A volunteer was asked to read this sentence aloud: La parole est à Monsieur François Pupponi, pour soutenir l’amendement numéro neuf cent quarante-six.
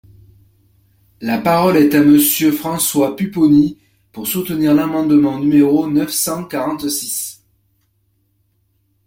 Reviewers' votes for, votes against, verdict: 2, 0, accepted